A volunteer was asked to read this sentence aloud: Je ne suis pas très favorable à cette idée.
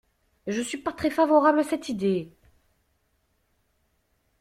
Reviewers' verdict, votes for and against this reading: rejected, 1, 2